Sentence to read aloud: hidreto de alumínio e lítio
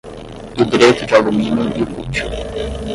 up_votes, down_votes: 0, 5